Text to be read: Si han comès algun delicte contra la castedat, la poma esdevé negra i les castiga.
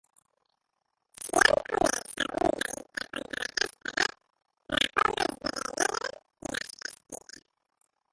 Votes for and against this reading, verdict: 0, 2, rejected